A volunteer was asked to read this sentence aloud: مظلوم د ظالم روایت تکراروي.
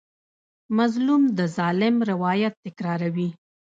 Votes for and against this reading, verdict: 0, 2, rejected